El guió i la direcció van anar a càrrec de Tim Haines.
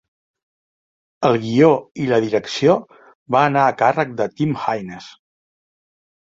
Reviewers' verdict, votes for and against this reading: rejected, 1, 2